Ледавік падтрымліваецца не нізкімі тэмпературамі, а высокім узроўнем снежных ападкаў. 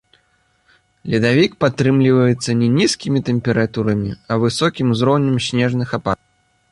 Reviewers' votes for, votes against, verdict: 1, 2, rejected